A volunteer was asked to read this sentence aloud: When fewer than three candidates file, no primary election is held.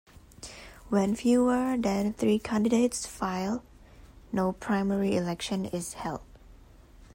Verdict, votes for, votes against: accepted, 2, 0